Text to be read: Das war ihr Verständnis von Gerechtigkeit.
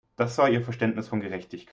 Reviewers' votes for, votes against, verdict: 2, 3, rejected